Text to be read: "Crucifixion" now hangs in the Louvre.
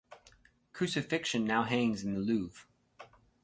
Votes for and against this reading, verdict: 2, 2, rejected